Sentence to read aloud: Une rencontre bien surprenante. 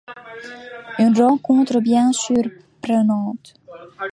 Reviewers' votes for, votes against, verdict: 0, 2, rejected